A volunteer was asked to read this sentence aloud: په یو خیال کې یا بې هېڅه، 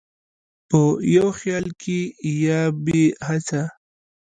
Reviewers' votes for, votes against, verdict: 2, 0, accepted